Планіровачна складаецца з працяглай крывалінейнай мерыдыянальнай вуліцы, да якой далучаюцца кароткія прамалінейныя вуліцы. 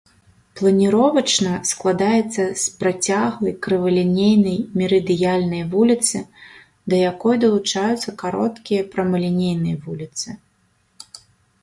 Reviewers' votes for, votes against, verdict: 2, 0, accepted